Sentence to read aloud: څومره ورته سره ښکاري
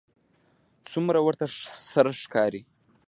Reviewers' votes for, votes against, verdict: 1, 2, rejected